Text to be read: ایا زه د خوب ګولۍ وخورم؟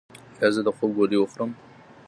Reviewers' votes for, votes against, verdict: 1, 2, rejected